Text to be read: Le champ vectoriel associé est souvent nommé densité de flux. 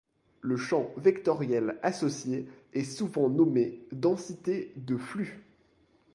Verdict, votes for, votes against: accepted, 2, 0